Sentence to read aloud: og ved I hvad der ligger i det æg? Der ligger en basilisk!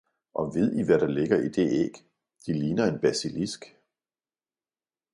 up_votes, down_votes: 1, 2